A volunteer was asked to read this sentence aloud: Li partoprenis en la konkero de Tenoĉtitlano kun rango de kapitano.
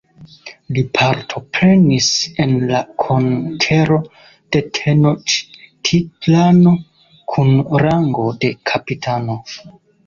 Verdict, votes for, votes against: rejected, 1, 2